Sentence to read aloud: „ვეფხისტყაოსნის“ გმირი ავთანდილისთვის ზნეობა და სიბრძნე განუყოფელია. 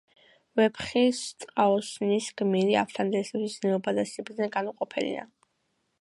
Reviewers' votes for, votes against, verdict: 0, 3, rejected